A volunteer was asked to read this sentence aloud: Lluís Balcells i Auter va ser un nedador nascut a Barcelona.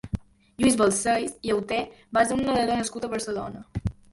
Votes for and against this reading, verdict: 3, 0, accepted